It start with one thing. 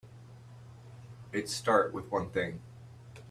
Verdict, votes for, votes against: accepted, 3, 0